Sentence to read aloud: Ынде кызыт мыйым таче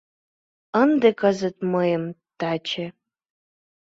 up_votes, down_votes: 2, 0